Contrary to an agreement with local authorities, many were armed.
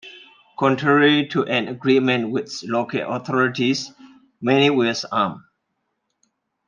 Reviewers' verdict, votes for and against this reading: rejected, 0, 2